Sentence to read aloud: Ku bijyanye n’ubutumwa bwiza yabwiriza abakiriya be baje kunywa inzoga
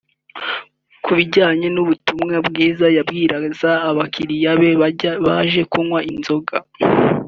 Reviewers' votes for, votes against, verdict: 1, 2, rejected